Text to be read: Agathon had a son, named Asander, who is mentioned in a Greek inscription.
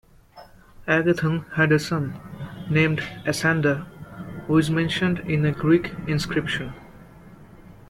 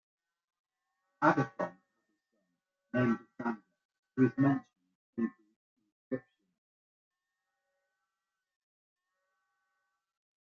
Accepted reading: first